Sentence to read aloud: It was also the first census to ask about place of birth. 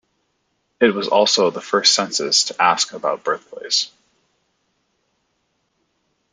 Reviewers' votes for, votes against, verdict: 0, 2, rejected